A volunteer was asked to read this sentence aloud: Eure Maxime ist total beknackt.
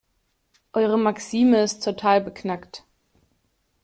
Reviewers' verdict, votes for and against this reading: accepted, 2, 0